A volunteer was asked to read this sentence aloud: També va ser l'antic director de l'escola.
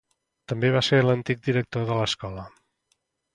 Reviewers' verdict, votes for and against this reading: accepted, 2, 0